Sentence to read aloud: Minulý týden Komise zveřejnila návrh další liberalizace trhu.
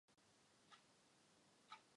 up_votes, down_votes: 0, 2